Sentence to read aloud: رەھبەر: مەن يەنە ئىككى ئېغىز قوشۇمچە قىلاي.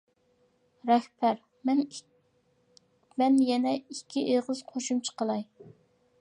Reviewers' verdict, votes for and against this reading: rejected, 1, 2